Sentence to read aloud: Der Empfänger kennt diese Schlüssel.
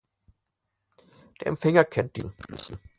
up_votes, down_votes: 0, 4